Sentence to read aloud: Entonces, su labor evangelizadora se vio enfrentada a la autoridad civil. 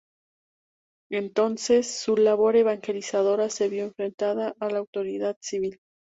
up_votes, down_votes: 2, 0